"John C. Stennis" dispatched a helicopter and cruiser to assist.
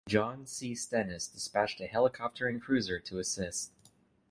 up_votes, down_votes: 2, 0